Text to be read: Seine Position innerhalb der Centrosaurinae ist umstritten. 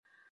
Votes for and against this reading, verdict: 0, 2, rejected